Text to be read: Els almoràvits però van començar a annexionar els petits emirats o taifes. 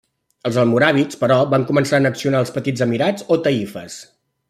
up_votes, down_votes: 0, 2